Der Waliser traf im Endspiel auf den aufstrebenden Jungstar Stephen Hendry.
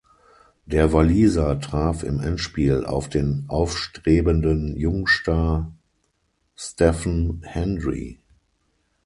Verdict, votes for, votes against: rejected, 0, 6